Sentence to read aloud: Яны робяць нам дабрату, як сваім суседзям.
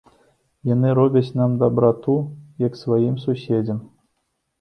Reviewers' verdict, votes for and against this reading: accepted, 3, 0